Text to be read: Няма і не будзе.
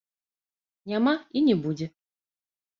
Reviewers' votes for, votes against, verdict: 0, 2, rejected